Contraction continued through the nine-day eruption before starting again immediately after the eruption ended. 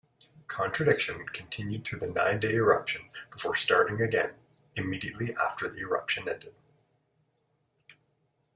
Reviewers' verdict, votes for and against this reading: rejected, 0, 2